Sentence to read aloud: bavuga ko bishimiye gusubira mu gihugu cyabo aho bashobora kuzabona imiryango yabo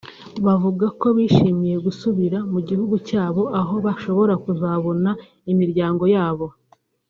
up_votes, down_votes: 1, 2